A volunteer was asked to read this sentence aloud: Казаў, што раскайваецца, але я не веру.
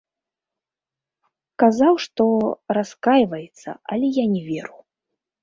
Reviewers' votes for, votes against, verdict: 1, 2, rejected